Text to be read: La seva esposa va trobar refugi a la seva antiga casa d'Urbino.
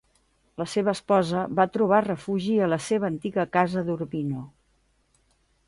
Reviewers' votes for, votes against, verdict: 2, 0, accepted